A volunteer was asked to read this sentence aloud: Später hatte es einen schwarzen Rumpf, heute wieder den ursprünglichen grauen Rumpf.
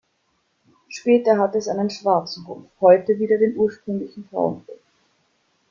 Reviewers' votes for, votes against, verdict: 1, 2, rejected